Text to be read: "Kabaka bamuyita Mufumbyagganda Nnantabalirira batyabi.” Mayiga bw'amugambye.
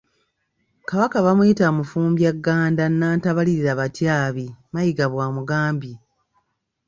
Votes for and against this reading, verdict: 1, 2, rejected